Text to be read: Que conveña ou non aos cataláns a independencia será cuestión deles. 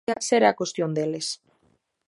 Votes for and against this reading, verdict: 0, 2, rejected